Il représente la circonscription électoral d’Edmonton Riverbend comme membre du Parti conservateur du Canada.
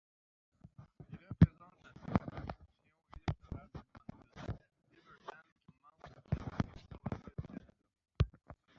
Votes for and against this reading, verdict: 0, 2, rejected